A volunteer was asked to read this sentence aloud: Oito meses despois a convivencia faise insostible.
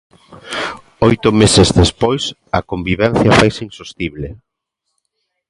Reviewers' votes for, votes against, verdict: 2, 1, accepted